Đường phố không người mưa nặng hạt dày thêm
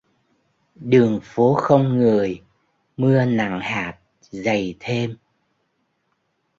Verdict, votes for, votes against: accepted, 2, 1